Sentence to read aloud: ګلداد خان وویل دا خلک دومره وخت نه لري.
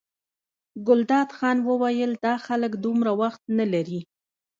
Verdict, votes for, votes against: rejected, 1, 2